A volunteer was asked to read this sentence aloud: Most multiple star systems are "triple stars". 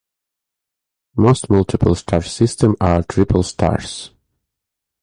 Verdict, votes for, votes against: rejected, 0, 2